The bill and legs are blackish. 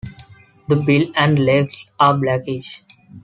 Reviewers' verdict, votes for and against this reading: accepted, 2, 0